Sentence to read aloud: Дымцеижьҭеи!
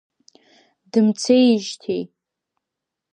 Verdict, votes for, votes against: accepted, 2, 0